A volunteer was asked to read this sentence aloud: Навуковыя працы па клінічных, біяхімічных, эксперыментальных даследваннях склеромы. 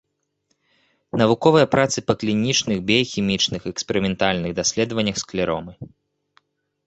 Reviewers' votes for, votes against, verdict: 2, 0, accepted